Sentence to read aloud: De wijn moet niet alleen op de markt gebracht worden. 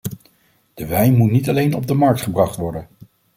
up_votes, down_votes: 2, 0